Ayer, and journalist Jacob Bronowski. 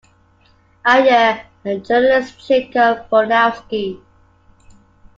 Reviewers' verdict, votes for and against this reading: accepted, 2, 1